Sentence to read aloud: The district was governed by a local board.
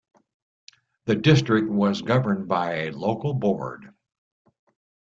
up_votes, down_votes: 2, 0